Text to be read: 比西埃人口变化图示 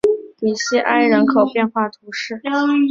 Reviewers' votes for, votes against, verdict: 2, 0, accepted